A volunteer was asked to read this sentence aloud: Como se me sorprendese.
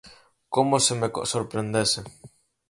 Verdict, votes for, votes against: rejected, 2, 4